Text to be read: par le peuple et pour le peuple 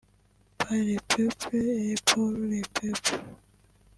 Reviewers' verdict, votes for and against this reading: rejected, 1, 2